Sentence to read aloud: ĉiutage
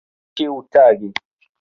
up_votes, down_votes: 1, 2